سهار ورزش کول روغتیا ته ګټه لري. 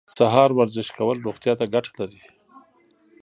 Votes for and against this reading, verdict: 2, 0, accepted